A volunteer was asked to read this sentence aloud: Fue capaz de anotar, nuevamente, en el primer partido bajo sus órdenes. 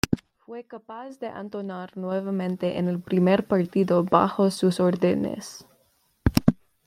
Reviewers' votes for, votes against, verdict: 1, 2, rejected